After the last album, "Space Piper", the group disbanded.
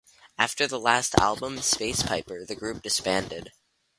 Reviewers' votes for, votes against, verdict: 2, 0, accepted